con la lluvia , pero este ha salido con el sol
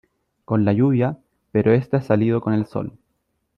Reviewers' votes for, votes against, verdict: 2, 1, accepted